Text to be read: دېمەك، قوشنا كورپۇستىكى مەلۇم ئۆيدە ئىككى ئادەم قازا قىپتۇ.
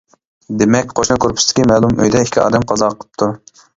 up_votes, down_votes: 2, 1